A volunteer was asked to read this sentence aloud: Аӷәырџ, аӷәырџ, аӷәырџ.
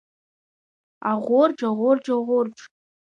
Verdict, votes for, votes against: accepted, 2, 1